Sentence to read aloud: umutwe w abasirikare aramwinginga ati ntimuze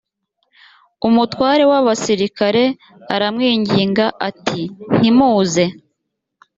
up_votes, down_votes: 1, 2